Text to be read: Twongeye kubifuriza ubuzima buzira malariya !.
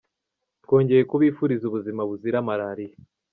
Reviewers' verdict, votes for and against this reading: rejected, 1, 2